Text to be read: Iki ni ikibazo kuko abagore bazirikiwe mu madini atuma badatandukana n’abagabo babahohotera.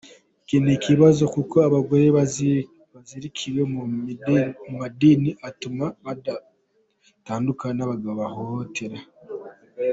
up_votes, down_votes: 0, 3